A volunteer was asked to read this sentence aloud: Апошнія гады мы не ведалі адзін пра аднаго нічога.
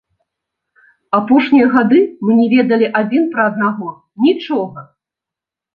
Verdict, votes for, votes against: accepted, 4, 0